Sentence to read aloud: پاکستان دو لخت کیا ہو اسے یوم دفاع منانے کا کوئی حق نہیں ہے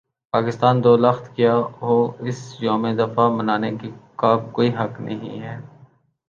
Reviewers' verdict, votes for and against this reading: rejected, 0, 2